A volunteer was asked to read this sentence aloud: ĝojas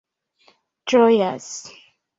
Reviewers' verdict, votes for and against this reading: accepted, 2, 0